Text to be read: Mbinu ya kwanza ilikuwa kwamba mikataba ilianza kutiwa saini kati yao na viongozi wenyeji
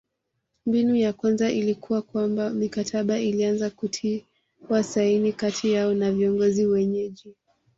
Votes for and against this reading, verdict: 2, 1, accepted